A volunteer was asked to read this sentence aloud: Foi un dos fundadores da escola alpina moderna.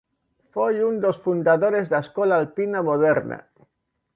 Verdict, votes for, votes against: accepted, 2, 0